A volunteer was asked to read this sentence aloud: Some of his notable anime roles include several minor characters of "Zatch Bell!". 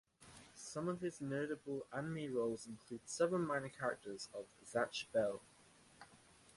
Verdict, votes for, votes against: accepted, 2, 0